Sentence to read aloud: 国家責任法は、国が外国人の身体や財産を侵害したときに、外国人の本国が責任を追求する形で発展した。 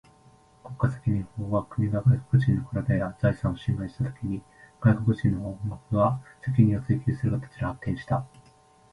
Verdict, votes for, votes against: accepted, 2, 1